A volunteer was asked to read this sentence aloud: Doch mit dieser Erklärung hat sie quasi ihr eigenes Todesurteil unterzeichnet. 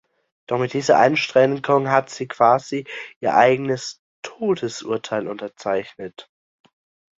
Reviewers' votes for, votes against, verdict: 0, 2, rejected